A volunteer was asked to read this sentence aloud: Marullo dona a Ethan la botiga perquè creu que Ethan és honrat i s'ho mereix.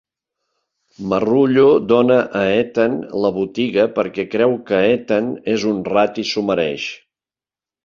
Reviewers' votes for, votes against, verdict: 1, 2, rejected